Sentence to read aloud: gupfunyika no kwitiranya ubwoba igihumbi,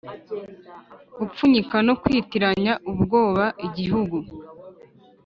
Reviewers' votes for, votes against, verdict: 2, 3, rejected